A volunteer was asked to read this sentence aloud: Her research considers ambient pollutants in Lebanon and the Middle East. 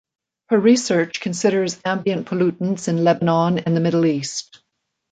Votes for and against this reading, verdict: 2, 0, accepted